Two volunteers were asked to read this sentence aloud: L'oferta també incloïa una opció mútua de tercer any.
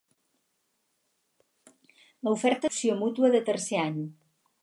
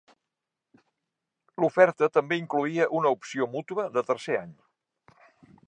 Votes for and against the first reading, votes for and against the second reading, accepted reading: 0, 4, 3, 0, second